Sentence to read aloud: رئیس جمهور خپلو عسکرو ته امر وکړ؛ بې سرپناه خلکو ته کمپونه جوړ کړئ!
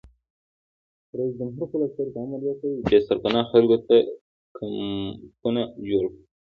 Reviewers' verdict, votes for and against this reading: accepted, 2, 0